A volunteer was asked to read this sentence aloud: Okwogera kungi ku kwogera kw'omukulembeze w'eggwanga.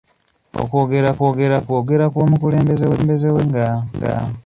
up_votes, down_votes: 0, 2